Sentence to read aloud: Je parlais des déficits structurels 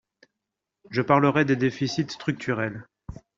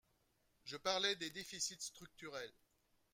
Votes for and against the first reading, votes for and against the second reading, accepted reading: 0, 2, 2, 0, second